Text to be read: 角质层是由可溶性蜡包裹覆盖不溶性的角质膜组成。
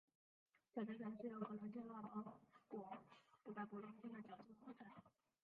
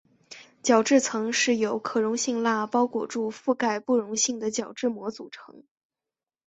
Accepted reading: second